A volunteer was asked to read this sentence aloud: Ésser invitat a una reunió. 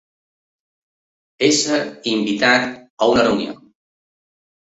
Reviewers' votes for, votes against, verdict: 2, 0, accepted